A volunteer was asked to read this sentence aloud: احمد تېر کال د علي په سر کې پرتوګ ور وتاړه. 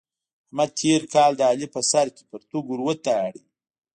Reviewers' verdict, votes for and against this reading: rejected, 1, 2